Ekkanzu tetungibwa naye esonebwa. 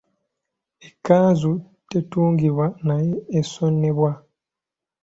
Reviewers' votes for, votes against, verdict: 2, 0, accepted